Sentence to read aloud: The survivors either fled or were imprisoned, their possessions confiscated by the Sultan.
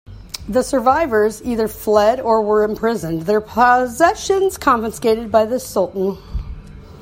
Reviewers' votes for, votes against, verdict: 2, 1, accepted